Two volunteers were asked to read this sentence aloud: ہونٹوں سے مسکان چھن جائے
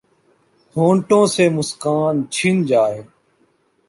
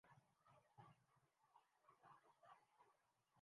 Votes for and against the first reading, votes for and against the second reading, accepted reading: 2, 0, 0, 7, first